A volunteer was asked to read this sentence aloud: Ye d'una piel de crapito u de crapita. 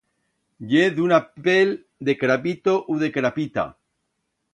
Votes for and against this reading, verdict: 1, 2, rejected